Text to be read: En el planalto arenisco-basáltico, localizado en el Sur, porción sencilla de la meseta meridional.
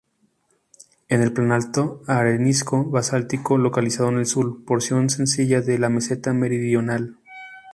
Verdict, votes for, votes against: rejected, 0, 4